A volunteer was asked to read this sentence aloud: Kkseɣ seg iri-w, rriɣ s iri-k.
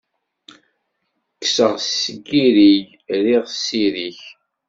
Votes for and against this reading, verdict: 1, 2, rejected